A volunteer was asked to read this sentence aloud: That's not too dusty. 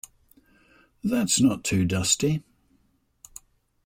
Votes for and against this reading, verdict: 2, 0, accepted